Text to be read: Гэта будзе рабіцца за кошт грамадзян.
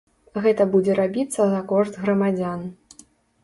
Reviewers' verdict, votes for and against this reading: accepted, 2, 0